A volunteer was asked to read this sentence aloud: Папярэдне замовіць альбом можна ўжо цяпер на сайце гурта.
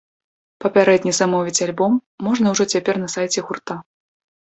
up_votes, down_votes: 2, 0